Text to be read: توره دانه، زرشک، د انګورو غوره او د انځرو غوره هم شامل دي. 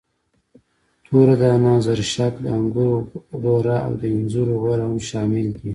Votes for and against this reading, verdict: 2, 0, accepted